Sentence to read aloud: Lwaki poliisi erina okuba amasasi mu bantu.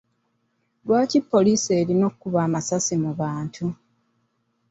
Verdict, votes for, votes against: accepted, 3, 0